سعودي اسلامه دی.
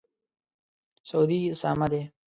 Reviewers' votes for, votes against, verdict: 1, 2, rejected